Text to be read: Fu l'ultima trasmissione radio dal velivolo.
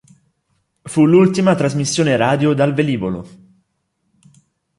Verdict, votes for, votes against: accepted, 2, 0